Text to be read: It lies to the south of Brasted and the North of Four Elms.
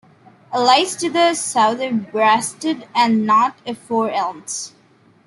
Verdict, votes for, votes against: rejected, 1, 2